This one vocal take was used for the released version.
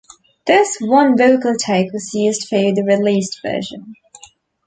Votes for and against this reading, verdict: 2, 1, accepted